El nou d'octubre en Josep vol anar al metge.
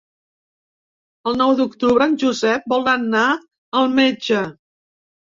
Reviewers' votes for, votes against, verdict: 1, 2, rejected